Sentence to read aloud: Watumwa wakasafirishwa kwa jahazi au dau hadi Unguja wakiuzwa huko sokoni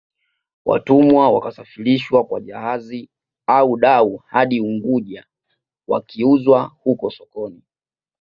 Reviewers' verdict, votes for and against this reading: rejected, 1, 2